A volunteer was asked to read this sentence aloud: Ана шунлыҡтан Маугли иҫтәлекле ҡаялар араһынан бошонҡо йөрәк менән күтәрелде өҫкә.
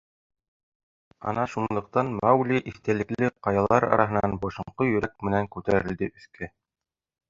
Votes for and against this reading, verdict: 2, 3, rejected